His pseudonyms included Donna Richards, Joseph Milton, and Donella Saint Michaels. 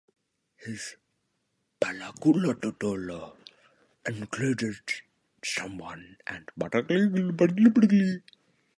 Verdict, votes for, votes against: rejected, 0, 3